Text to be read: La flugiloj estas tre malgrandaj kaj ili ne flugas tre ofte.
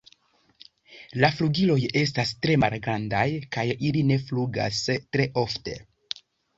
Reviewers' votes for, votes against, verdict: 1, 2, rejected